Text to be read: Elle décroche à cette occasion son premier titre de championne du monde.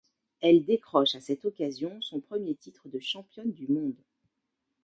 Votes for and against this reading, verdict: 2, 0, accepted